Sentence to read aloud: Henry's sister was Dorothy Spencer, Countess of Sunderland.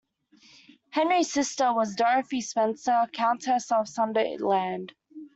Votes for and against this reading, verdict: 2, 1, accepted